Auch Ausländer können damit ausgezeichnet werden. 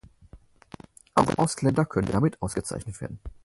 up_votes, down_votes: 2, 6